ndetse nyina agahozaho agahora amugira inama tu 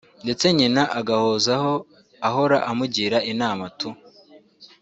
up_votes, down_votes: 1, 2